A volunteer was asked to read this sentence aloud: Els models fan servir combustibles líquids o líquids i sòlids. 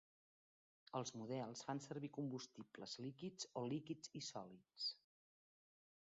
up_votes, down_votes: 1, 2